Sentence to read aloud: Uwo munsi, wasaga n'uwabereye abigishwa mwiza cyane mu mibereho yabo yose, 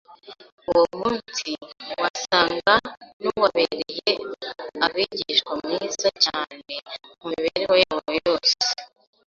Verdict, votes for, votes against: rejected, 1, 2